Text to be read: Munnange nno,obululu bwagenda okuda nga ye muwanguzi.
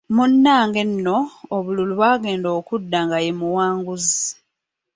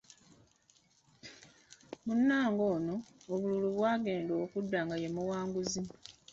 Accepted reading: first